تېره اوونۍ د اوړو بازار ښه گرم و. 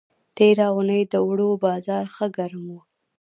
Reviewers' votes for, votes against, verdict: 2, 0, accepted